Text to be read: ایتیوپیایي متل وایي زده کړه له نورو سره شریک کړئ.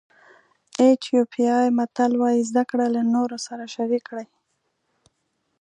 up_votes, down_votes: 1, 2